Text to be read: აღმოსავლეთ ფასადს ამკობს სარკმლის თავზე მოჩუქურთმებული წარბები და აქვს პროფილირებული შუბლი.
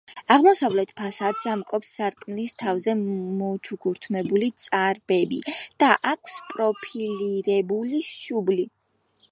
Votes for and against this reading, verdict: 2, 1, accepted